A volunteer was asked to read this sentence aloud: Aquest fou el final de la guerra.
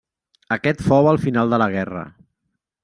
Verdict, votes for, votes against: accepted, 2, 0